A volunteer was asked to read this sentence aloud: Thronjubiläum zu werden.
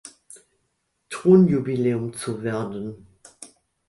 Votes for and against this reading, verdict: 1, 2, rejected